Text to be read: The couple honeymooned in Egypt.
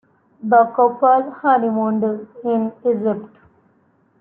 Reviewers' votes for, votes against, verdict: 0, 2, rejected